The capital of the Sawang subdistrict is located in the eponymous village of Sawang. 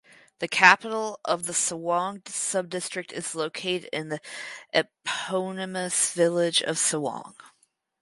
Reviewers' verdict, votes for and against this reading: rejected, 2, 4